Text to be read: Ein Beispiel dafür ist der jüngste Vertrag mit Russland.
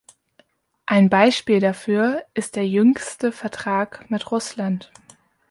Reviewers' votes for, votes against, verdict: 1, 2, rejected